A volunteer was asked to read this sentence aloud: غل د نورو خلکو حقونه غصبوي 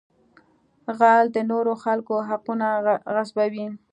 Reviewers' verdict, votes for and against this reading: accepted, 2, 0